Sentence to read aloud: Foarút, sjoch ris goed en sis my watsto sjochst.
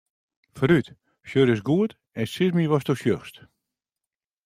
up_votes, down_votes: 2, 0